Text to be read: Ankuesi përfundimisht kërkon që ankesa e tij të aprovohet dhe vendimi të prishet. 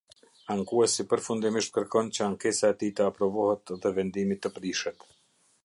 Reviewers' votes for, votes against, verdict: 2, 0, accepted